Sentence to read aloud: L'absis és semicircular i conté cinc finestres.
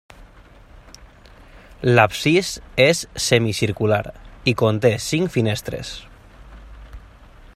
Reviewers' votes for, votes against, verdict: 3, 0, accepted